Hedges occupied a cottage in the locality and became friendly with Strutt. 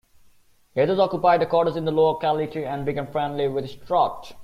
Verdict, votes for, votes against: rejected, 1, 2